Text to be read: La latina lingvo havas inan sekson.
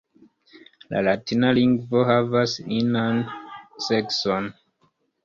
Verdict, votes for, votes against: accepted, 2, 0